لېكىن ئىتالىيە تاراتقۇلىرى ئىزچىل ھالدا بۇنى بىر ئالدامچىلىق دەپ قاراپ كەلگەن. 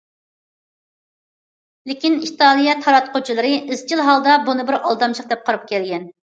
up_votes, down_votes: 0, 2